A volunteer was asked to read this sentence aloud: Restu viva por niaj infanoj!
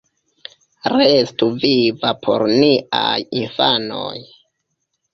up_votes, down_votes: 3, 0